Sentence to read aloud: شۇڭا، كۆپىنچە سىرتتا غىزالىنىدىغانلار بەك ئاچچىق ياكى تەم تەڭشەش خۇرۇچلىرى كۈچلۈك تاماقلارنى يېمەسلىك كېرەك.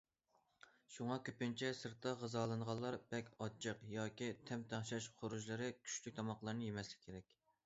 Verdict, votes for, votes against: rejected, 0, 2